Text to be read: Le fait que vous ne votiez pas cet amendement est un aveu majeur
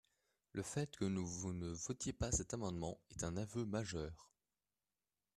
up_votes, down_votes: 1, 2